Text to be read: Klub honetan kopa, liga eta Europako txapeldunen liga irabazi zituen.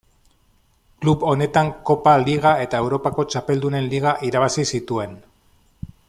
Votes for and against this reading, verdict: 0, 2, rejected